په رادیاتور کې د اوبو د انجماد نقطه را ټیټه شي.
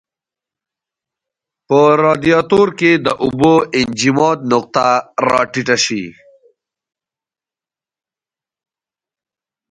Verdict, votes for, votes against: accepted, 2, 0